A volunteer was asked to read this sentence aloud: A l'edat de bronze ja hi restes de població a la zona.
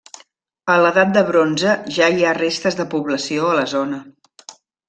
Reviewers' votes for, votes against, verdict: 2, 0, accepted